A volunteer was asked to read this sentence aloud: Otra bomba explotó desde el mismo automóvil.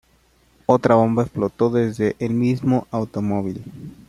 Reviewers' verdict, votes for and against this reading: rejected, 1, 2